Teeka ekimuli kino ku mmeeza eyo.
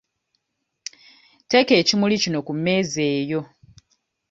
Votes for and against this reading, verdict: 2, 0, accepted